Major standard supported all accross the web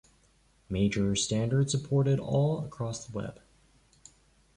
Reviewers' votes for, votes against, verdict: 2, 1, accepted